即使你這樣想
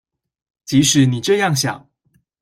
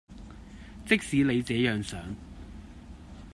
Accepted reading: first